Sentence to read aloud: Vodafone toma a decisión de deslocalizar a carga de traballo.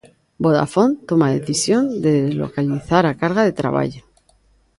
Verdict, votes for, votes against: rejected, 1, 2